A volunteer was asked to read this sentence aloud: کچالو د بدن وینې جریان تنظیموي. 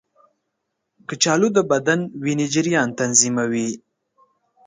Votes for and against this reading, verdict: 2, 0, accepted